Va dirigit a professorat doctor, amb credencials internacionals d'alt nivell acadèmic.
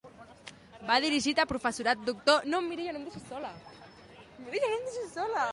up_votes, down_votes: 0, 2